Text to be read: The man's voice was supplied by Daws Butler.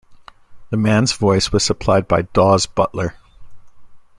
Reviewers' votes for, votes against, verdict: 2, 0, accepted